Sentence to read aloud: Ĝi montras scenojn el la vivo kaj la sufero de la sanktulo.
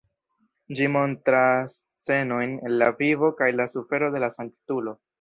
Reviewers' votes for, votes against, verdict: 2, 1, accepted